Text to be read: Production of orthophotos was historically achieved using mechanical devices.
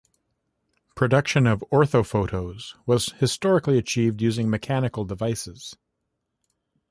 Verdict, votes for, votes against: accepted, 2, 0